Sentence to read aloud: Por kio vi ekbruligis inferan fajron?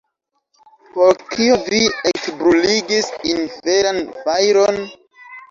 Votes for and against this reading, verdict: 0, 2, rejected